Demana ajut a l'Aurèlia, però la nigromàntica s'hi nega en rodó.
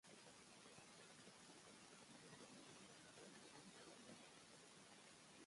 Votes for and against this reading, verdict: 1, 2, rejected